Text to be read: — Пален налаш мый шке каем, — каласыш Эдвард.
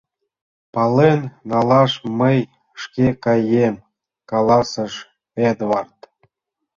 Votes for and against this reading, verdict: 2, 1, accepted